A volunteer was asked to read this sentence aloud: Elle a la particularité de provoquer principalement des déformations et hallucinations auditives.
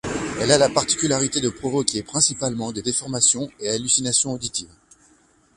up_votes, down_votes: 2, 0